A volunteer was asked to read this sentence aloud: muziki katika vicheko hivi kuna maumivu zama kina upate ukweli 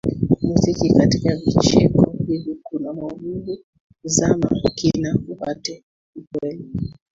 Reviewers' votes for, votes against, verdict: 1, 2, rejected